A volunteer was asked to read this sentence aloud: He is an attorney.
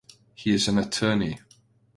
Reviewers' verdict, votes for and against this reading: accepted, 2, 0